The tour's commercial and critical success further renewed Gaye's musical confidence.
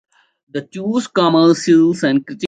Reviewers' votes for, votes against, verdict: 0, 2, rejected